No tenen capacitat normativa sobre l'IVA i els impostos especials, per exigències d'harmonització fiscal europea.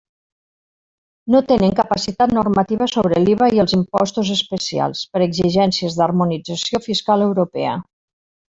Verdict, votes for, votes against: rejected, 0, 2